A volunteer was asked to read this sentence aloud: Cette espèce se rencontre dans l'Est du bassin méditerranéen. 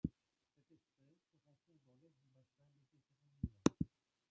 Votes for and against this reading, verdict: 0, 2, rejected